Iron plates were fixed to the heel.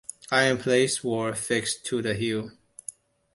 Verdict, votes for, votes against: accepted, 2, 0